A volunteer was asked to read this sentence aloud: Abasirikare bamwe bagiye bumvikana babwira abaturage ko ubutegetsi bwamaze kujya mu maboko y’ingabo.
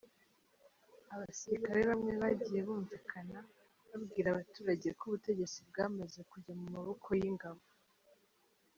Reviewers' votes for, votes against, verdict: 1, 2, rejected